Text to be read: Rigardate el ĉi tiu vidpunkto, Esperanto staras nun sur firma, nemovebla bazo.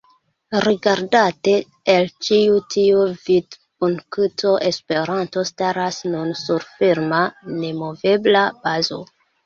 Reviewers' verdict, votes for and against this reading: rejected, 0, 2